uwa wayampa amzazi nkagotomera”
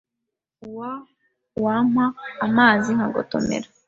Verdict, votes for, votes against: rejected, 1, 2